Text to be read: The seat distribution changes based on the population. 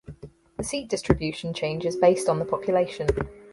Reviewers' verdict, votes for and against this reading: accepted, 4, 0